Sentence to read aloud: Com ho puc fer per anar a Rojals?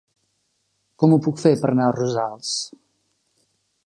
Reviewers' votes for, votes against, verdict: 0, 2, rejected